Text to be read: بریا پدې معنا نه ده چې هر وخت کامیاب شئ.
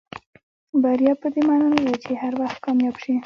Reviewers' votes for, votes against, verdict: 2, 0, accepted